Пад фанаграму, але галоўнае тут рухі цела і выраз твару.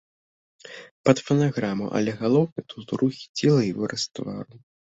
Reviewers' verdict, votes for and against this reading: accepted, 2, 1